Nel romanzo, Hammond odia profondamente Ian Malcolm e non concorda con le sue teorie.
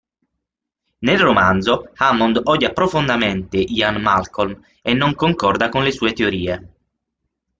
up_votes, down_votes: 6, 0